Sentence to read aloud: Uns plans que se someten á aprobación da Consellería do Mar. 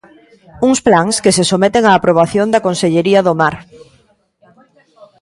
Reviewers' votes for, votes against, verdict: 2, 0, accepted